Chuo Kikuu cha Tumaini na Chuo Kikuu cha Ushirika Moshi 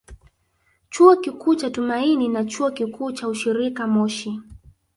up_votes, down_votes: 1, 2